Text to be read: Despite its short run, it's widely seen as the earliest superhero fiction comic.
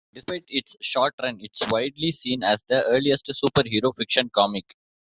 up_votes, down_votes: 0, 2